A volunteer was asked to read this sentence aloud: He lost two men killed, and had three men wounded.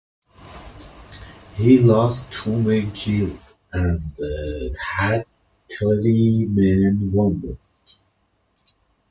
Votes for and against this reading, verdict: 0, 2, rejected